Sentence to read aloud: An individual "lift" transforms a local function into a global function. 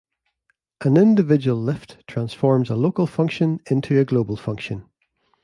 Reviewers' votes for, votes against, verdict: 3, 0, accepted